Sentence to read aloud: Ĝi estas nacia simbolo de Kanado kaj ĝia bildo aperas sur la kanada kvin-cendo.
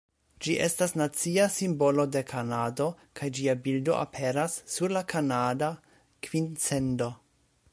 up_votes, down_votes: 2, 0